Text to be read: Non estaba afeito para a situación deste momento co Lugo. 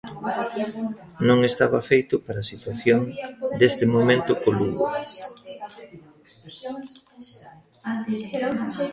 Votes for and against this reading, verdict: 0, 2, rejected